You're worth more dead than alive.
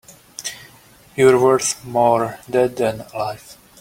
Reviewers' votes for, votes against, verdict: 1, 2, rejected